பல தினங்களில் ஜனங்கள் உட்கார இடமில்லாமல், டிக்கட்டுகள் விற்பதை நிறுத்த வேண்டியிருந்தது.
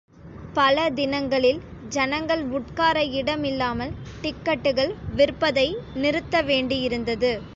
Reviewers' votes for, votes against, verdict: 2, 0, accepted